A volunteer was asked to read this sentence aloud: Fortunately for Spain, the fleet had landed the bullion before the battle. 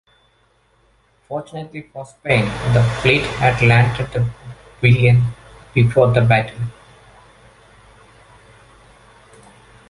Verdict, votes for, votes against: rejected, 0, 2